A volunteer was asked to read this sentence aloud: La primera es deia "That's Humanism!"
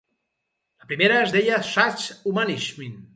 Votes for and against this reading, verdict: 0, 4, rejected